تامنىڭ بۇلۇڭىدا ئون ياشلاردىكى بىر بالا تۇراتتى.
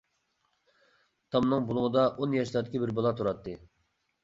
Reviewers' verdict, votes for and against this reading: accepted, 2, 0